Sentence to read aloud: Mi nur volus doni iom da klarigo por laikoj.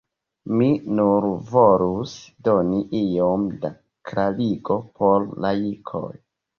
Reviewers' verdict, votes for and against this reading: rejected, 1, 2